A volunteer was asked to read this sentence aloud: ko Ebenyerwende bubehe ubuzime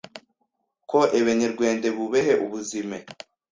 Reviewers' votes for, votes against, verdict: 1, 2, rejected